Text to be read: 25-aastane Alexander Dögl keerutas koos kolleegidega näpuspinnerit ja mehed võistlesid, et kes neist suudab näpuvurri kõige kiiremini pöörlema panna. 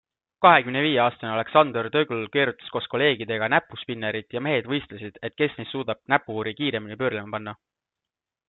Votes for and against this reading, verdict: 0, 2, rejected